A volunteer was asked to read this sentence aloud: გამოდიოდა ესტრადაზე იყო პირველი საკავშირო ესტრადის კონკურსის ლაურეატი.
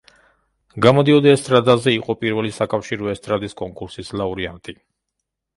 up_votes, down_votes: 0, 2